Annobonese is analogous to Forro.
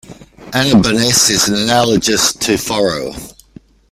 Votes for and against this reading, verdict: 1, 2, rejected